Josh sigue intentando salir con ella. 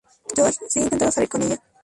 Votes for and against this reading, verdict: 0, 2, rejected